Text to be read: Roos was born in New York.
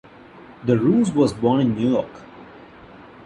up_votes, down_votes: 1, 2